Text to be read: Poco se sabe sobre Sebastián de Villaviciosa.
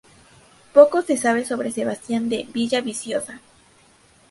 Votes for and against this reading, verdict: 2, 0, accepted